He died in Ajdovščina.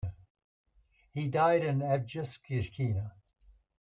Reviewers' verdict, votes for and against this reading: rejected, 0, 2